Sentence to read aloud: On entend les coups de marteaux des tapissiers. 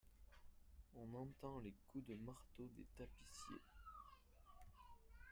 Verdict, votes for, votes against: rejected, 1, 2